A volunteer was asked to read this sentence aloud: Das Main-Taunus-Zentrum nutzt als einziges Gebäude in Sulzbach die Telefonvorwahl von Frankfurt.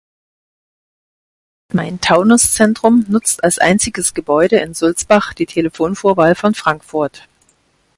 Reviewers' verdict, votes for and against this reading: rejected, 0, 4